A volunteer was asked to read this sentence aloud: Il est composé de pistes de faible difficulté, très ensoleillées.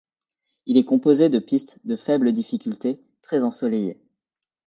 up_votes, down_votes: 2, 0